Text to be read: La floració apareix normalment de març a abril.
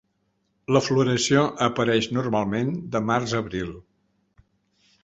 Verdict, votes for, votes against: accepted, 4, 0